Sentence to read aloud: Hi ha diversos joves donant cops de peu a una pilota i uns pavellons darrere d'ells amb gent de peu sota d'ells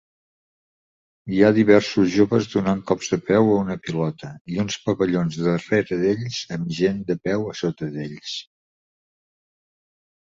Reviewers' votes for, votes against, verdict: 0, 2, rejected